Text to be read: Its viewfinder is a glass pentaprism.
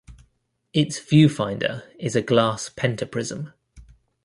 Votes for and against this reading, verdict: 2, 0, accepted